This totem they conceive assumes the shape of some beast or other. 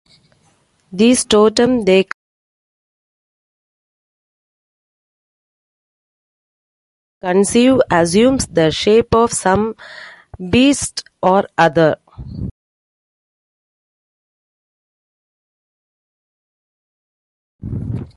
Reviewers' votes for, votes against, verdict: 0, 2, rejected